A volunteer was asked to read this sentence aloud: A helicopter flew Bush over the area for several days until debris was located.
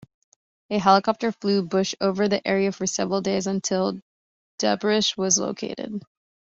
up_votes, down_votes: 0, 2